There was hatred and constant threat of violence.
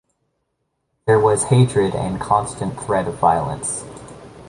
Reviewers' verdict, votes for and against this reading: rejected, 1, 2